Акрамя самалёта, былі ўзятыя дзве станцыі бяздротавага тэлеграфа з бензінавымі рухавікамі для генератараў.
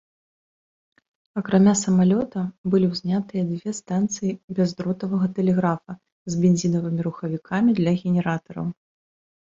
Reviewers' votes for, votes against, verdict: 0, 2, rejected